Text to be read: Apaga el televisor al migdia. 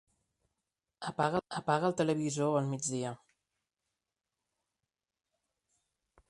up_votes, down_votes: 1, 3